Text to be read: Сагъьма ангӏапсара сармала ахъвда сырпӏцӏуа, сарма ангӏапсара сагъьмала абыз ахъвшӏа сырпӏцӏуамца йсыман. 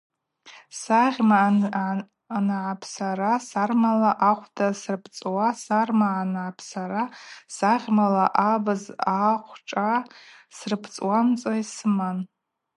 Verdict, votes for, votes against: accepted, 2, 0